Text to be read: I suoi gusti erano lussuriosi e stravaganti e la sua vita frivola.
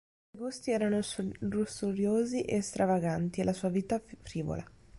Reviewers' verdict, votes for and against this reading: rejected, 0, 2